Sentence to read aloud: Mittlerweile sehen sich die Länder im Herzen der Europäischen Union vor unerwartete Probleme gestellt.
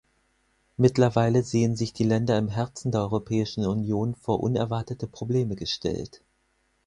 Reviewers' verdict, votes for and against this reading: accepted, 6, 0